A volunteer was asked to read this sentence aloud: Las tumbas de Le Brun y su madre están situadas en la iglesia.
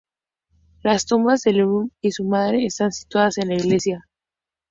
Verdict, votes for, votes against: accepted, 4, 0